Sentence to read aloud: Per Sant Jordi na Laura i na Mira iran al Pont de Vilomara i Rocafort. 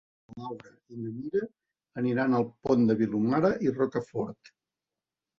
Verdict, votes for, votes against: rejected, 0, 2